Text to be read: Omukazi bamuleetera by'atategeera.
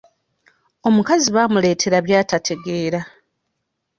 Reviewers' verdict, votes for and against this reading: rejected, 1, 2